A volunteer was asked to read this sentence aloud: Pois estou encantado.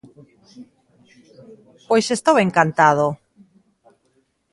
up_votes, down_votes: 2, 0